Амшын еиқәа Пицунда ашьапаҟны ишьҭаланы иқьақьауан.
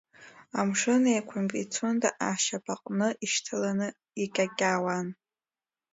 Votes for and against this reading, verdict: 0, 2, rejected